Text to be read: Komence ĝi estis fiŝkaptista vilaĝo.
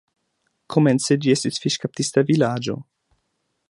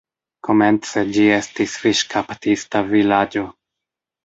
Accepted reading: first